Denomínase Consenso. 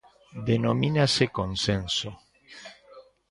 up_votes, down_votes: 2, 0